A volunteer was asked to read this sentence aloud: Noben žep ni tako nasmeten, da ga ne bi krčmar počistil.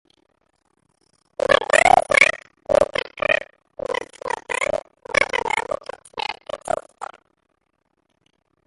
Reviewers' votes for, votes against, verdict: 0, 2, rejected